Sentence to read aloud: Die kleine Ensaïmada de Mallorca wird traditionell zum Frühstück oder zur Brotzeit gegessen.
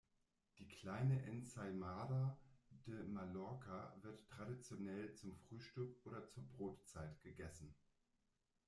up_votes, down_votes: 1, 2